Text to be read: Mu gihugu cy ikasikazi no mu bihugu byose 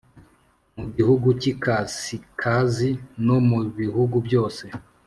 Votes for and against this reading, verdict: 5, 0, accepted